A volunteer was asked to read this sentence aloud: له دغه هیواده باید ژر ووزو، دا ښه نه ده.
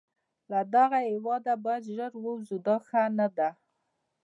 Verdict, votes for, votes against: accepted, 2, 0